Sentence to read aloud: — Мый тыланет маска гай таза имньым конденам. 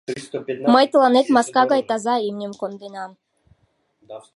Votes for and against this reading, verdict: 1, 2, rejected